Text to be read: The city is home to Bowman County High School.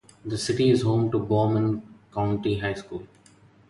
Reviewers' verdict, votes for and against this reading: rejected, 0, 2